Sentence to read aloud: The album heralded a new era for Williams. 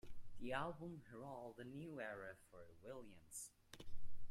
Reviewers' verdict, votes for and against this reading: rejected, 0, 2